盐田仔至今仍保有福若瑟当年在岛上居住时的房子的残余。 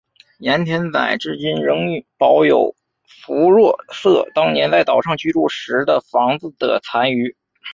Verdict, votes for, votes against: rejected, 1, 2